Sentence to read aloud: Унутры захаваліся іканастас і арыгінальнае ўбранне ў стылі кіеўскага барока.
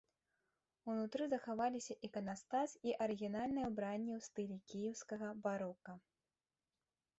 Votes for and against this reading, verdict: 2, 0, accepted